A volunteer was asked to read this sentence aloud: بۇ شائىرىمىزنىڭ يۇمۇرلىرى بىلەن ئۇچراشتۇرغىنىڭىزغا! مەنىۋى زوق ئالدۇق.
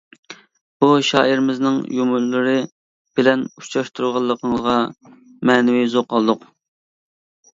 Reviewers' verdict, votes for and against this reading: rejected, 1, 2